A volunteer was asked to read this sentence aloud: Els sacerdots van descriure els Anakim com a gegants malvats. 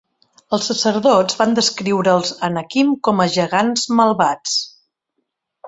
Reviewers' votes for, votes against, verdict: 2, 0, accepted